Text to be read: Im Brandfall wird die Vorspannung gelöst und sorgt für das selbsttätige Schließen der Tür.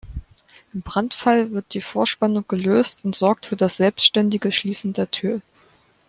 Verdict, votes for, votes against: rejected, 1, 2